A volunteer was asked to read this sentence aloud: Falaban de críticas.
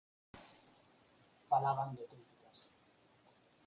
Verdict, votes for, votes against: rejected, 0, 4